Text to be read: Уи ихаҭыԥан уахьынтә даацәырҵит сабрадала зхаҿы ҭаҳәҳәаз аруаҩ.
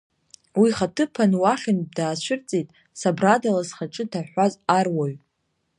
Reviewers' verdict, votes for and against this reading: accepted, 2, 0